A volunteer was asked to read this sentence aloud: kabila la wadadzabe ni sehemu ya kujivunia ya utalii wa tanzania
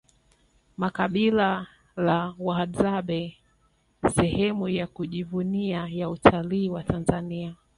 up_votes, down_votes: 2, 3